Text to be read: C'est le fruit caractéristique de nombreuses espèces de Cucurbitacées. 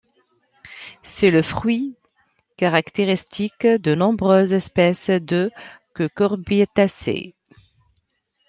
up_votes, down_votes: 2, 1